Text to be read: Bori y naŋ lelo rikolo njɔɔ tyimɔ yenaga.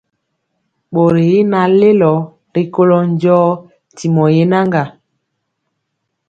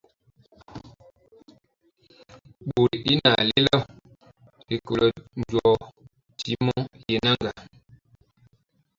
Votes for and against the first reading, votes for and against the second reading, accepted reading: 2, 0, 0, 2, first